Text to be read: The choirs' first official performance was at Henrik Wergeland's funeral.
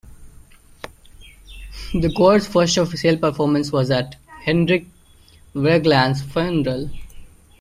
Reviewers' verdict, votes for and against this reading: rejected, 0, 2